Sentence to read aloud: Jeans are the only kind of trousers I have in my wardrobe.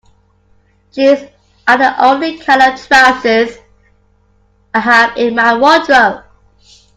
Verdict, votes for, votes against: accepted, 2, 1